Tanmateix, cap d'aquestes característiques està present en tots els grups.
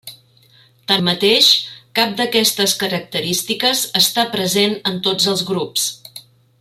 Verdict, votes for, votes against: accepted, 2, 0